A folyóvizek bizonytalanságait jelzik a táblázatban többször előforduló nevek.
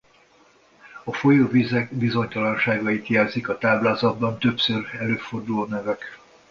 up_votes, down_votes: 2, 0